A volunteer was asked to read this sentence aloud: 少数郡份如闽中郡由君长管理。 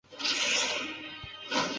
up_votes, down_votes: 0, 2